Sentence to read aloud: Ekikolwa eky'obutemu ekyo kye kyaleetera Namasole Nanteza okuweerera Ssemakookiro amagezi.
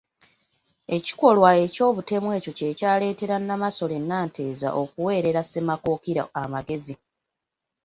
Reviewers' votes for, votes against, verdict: 2, 0, accepted